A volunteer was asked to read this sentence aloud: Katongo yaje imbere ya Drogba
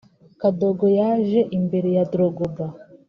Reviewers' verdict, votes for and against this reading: rejected, 0, 2